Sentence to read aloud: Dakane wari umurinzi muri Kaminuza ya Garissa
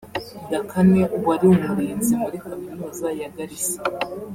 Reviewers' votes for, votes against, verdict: 2, 1, accepted